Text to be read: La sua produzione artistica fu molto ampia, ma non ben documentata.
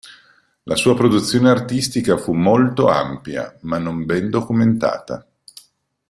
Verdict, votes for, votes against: accepted, 3, 0